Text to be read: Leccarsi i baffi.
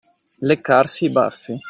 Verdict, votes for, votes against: accepted, 2, 0